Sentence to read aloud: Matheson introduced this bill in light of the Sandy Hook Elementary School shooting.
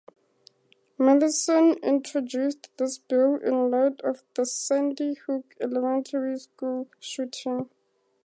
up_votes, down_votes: 4, 0